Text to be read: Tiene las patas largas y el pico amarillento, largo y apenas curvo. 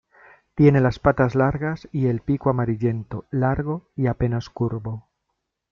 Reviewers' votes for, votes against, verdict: 2, 0, accepted